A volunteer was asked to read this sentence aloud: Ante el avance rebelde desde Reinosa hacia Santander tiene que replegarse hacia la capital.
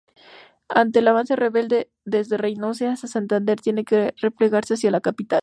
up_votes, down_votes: 2, 2